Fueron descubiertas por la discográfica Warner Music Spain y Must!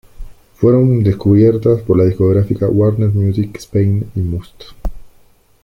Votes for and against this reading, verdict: 2, 1, accepted